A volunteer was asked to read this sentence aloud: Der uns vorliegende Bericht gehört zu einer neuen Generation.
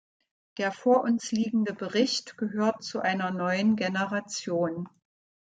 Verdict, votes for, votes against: rejected, 1, 2